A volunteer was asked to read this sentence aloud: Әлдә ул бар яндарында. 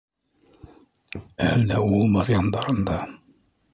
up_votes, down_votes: 1, 2